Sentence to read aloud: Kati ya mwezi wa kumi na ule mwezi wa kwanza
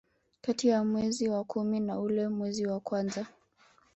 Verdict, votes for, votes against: rejected, 0, 2